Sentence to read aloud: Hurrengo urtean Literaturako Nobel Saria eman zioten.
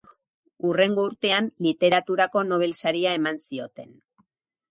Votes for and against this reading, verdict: 8, 0, accepted